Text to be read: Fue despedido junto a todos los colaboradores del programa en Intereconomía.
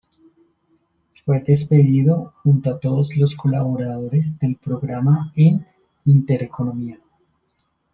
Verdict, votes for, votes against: accepted, 2, 0